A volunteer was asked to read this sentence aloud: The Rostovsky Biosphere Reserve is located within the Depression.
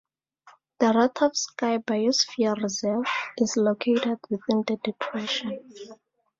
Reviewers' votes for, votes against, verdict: 2, 0, accepted